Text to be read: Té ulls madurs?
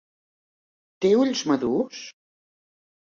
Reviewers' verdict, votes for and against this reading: accepted, 3, 0